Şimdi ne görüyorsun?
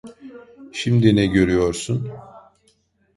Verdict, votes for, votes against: rejected, 1, 2